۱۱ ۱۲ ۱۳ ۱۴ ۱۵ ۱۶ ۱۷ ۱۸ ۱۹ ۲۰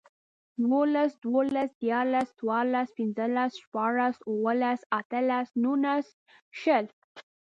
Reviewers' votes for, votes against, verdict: 0, 2, rejected